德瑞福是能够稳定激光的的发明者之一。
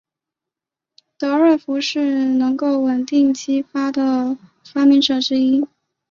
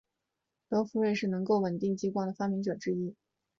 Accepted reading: first